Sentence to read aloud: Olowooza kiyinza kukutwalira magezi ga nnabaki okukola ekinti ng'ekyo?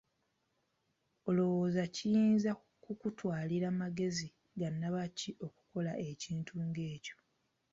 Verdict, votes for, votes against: accepted, 2, 0